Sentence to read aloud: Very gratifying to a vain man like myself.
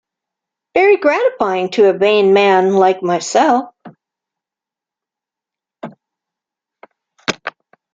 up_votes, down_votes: 0, 2